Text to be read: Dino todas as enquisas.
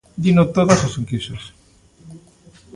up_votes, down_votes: 2, 0